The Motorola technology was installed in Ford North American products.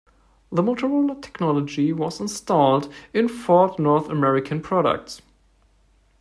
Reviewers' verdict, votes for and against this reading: accepted, 2, 0